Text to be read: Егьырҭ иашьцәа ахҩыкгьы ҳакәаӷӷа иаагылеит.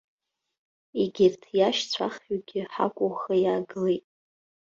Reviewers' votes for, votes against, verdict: 0, 2, rejected